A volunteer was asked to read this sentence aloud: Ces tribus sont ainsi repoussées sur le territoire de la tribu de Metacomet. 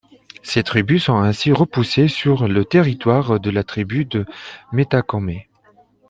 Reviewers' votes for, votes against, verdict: 2, 1, accepted